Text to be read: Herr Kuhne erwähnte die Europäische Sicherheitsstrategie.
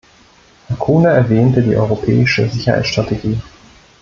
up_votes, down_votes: 1, 2